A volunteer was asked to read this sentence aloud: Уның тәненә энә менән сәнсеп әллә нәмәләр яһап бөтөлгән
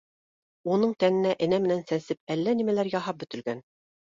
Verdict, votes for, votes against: accepted, 2, 0